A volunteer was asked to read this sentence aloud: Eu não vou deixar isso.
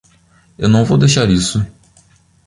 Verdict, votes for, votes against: accepted, 2, 0